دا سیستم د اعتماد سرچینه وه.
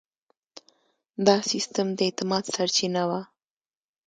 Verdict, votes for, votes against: accepted, 3, 2